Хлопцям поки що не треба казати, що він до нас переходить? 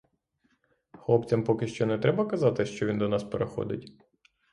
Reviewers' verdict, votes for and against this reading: accepted, 6, 0